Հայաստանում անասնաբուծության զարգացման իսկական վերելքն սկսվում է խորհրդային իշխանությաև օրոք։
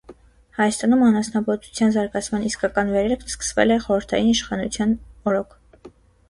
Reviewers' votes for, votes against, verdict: 0, 2, rejected